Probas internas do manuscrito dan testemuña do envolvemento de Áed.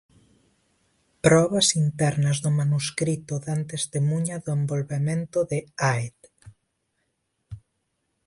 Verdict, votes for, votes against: accepted, 2, 0